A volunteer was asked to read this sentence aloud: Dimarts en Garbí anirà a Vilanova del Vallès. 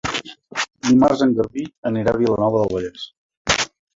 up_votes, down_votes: 0, 2